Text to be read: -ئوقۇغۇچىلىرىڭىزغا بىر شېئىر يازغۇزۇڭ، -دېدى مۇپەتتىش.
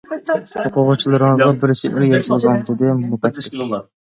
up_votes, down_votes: 1, 2